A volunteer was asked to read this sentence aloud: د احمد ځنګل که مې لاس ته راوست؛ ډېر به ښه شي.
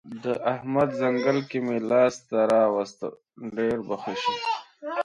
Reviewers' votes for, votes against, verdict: 2, 1, accepted